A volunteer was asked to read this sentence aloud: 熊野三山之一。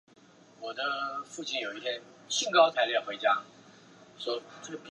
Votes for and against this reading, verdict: 1, 5, rejected